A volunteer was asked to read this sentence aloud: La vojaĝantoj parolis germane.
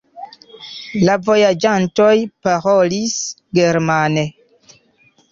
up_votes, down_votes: 0, 2